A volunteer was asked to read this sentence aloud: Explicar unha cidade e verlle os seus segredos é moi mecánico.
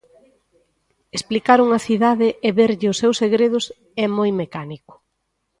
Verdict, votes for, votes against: accepted, 2, 0